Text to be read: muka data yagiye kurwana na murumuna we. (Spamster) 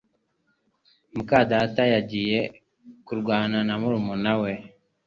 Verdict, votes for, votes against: rejected, 0, 2